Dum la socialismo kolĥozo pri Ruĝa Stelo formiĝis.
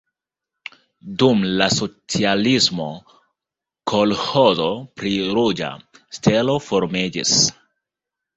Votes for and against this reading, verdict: 0, 2, rejected